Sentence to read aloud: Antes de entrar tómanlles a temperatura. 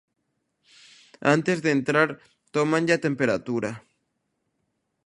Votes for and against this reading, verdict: 0, 2, rejected